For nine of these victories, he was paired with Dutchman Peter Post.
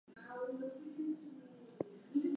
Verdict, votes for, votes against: rejected, 0, 4